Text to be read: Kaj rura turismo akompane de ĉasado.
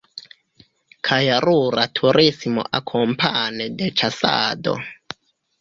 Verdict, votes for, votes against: accepted, 2, 1